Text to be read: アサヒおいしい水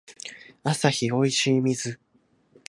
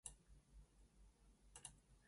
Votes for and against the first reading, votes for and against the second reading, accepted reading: 2, 1, 0, 2, first